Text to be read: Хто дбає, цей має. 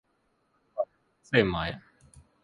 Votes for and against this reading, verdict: 1, 2, rejected